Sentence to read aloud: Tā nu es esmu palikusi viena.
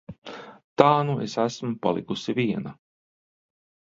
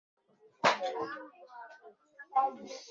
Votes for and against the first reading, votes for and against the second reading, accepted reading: 2, 0, 0, 2, first